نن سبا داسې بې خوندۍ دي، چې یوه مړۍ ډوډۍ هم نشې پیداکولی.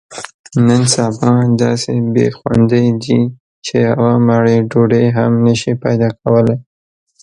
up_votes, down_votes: 0, 2